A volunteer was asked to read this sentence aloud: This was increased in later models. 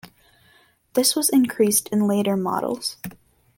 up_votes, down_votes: 2, 0